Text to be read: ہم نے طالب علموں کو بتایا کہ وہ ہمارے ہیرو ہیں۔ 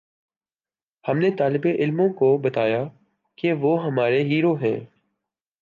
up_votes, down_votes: 0, 2